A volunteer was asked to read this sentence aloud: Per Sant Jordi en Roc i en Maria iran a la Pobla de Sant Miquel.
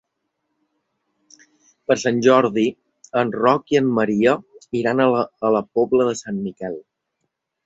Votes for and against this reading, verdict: 1, 2, rejected